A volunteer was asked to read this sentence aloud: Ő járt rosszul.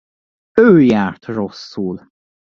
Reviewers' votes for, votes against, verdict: 2, 0, accepted